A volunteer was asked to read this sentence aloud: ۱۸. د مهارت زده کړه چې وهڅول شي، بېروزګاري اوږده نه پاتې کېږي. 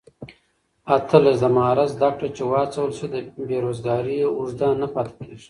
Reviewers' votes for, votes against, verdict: 0, 2, rejected